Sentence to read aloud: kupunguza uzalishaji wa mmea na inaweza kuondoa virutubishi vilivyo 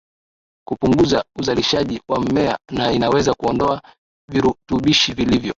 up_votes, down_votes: 10, 3